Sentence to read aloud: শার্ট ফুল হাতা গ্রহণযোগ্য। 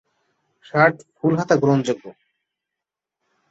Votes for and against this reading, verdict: 2, 0, accepted